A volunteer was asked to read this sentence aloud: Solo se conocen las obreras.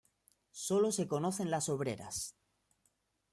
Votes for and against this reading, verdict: 0, 2, rejected